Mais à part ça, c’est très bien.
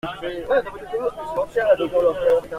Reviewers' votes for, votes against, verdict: 0, 2, rejected